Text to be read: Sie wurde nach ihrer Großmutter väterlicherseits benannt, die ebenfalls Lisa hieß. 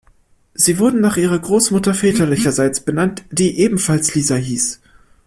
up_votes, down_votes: 1, 2